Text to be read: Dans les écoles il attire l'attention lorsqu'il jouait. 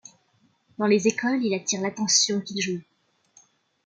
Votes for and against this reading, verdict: 0, 2, rejected